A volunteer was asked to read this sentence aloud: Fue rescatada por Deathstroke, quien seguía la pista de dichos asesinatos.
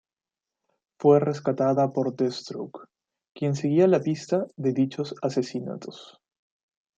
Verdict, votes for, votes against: accepted, 2, 0